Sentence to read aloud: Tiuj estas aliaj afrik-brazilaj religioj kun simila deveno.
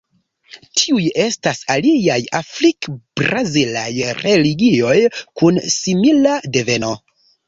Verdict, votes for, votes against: rejected, 0, 2